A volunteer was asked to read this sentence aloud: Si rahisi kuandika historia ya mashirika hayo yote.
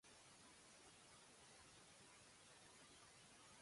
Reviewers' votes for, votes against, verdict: 0, 2, rejected